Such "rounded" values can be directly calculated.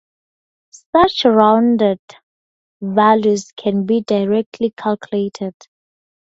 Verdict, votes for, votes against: accepted, 4, 0